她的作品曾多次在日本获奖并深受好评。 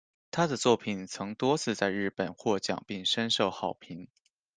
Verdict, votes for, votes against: accepted, 2, 0